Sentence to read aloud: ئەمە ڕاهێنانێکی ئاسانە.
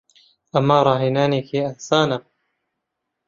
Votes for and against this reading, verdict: 11, 0, accepted